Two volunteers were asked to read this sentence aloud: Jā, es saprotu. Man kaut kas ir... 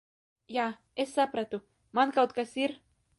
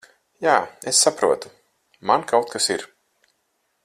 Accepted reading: second